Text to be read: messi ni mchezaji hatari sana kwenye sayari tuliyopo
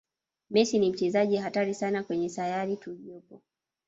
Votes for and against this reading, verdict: 0, 2, rejected